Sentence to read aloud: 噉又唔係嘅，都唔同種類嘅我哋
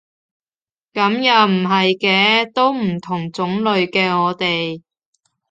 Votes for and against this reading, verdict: 4, 0, accepted